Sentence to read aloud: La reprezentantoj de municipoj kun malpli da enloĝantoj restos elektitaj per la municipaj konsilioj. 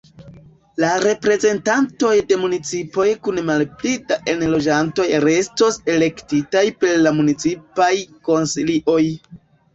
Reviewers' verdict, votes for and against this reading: accepted, 2, 0